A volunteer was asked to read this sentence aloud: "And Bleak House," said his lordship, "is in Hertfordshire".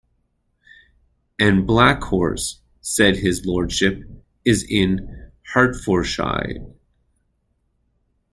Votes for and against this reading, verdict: 2, 0, accepted